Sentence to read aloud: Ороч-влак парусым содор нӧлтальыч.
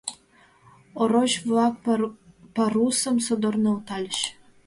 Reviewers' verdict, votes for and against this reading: rejected, 0, 2